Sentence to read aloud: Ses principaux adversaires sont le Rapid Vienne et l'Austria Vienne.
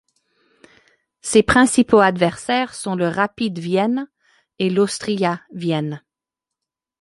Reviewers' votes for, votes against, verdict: 1, 2, rejected